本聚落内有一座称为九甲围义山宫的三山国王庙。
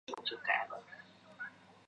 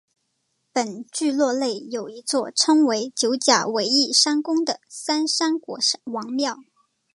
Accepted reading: second